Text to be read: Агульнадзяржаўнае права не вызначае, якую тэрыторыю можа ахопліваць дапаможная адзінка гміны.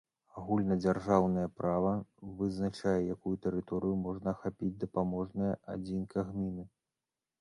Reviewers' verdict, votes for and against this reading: rejected, 0, 2